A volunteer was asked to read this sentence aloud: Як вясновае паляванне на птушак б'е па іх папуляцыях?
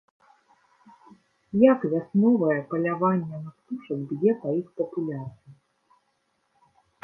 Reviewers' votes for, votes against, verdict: 1, 2, rejected